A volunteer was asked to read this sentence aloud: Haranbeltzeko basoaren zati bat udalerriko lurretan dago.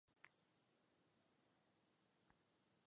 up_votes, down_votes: 0, 2